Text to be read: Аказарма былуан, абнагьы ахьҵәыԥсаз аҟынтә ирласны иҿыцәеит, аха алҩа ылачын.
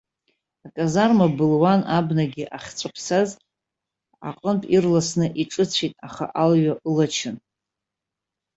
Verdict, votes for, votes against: rejected, 0, 2